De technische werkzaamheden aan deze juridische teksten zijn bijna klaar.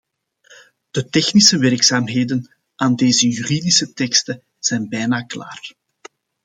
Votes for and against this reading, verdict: 2, 0, accepted